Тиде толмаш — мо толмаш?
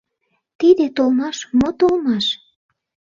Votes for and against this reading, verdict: 2, 0, accepted